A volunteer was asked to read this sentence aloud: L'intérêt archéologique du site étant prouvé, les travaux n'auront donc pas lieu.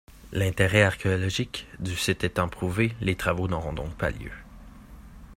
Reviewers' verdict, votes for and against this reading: accepted, 2, 0